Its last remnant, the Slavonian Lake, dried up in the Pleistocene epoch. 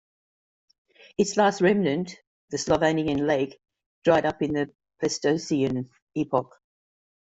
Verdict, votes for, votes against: accepted, 2, 1